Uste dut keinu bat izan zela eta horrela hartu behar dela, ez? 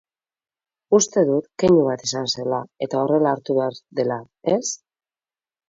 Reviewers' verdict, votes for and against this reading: accepted, 4, 0